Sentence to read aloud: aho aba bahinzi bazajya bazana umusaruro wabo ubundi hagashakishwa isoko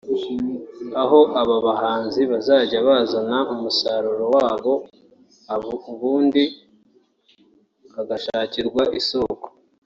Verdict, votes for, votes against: rejected, 0, 2